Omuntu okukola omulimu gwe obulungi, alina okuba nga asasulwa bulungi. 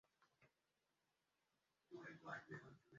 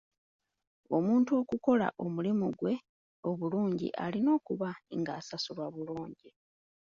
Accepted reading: second